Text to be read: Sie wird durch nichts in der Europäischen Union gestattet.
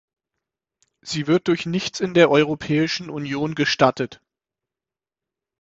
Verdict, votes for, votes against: accepted, 6, 0